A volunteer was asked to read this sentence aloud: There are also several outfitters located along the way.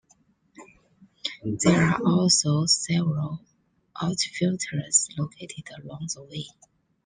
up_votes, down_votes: 1, 2